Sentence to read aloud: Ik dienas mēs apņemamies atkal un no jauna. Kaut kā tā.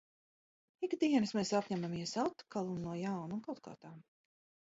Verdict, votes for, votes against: rejected, 0, 2